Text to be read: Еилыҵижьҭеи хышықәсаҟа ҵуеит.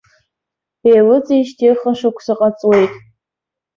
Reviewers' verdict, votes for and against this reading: accepted, 2, 0